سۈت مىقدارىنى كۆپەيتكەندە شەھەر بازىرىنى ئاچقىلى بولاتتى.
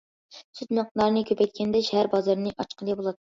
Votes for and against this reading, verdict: 0, 2, rejected